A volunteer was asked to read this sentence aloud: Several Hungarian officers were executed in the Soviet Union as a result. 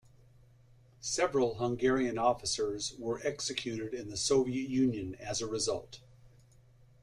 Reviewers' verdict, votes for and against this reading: accepted, 2, 0